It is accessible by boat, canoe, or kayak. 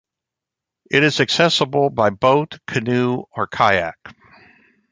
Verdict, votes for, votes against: accepted, 2, 0